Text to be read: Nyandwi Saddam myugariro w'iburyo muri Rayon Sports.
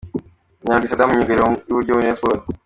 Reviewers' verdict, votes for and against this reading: accepted, 2, 0